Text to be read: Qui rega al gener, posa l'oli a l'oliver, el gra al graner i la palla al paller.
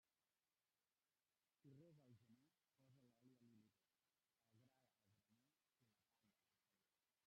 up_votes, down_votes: 0, 2